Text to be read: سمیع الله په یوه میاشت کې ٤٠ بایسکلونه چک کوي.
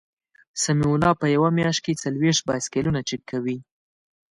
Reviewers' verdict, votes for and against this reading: rejected, 0, 2